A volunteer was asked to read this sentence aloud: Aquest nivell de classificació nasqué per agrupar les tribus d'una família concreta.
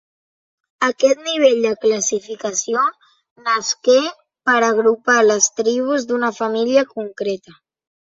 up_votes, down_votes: 2, 0